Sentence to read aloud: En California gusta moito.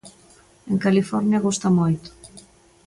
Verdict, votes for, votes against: accepted, 2, 0